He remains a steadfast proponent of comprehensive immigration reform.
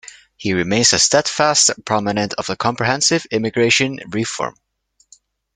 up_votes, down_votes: 0, 2